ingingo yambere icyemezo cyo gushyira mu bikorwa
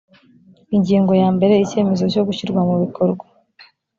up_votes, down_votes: 0, 2